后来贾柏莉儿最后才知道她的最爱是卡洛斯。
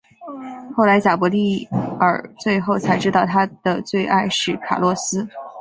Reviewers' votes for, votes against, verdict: 4, 0, accepted